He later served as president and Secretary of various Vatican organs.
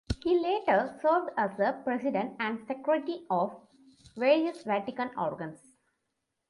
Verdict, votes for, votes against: accepted, 2, 1